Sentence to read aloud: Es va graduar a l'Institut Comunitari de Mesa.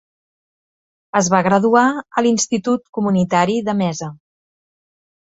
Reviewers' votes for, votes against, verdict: 2, 0, accepted